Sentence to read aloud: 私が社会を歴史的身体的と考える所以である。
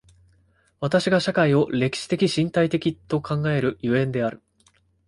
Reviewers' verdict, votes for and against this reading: accepted, 2, 0